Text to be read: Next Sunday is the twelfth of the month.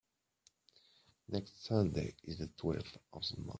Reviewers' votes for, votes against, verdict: 1, 2, rejected